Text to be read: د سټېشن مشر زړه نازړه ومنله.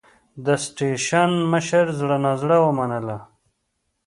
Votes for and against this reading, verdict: 2, 0, accepted